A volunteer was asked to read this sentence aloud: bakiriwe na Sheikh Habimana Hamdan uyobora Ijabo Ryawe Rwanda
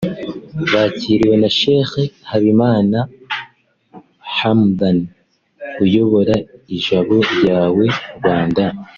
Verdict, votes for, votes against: accepted, 3, 0